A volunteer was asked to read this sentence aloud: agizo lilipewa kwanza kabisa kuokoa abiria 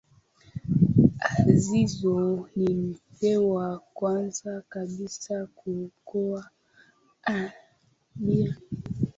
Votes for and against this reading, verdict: 3, 2, accepted